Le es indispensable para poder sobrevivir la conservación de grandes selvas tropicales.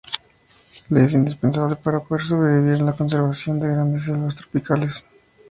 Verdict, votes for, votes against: accepted, 2, 0